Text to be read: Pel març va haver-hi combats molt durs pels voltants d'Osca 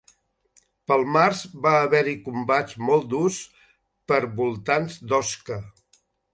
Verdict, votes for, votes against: rejected, 0, 2